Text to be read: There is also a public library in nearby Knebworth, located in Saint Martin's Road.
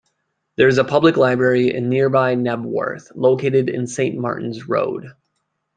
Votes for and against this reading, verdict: 1, 2, rejected